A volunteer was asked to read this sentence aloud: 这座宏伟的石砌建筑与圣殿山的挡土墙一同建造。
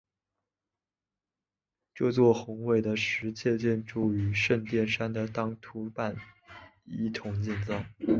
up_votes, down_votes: 0, 2